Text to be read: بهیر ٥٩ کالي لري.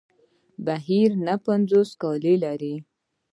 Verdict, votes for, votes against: rejected, 0, 2